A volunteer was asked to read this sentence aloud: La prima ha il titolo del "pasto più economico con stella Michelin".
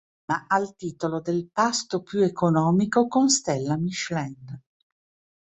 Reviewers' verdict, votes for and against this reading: rejected, 0, 2